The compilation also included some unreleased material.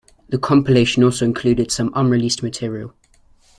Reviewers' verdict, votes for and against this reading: accepted, 2, 0